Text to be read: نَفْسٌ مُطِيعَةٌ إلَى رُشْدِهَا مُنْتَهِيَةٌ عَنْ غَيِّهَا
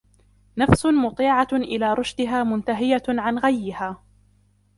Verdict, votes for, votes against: accepted, 3, 0